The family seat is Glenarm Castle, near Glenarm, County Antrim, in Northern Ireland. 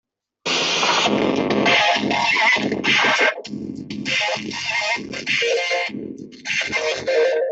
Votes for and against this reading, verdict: 0, 2, rejected